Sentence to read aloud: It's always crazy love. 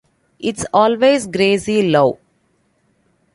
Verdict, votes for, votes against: rejected, 0, 2